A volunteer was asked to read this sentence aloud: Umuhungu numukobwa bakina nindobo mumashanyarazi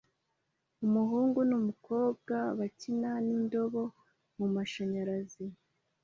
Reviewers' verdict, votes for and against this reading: accepted, 2, 0